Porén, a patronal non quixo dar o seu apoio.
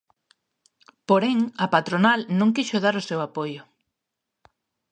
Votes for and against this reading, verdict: 2, 0, accepted